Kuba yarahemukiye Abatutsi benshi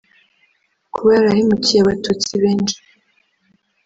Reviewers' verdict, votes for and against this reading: rejected, 1, 2